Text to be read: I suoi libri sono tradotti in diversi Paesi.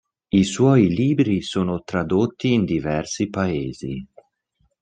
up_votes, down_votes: 2, 0